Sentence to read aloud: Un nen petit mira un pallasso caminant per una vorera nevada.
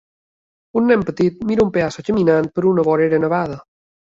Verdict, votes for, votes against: rejected, 1, 2